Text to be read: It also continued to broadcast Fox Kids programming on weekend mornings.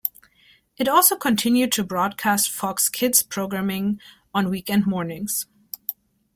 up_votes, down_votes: 2, 0